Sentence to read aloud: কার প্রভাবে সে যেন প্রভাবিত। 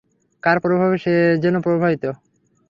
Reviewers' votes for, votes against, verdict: 3, 0, accepted